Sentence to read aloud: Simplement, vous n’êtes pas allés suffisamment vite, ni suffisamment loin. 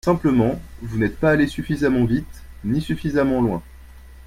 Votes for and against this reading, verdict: 2, 0, accepted